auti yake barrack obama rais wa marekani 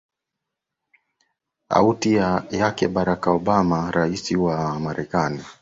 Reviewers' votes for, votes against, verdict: 2, 1, accepted